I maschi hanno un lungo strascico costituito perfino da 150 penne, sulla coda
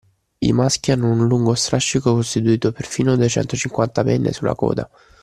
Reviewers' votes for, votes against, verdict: 0, 2, rejected